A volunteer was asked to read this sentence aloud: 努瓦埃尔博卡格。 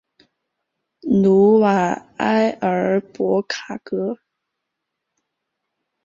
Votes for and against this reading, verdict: 2, 0, accepted